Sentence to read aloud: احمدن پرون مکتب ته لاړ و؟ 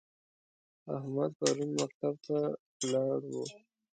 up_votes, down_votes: 1, 2